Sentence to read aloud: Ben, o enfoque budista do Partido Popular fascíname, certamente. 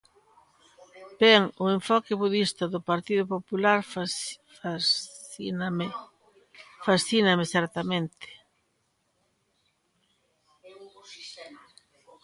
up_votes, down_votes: 0, 2